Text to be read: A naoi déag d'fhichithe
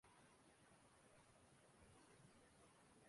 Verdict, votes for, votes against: rejected, 0, 2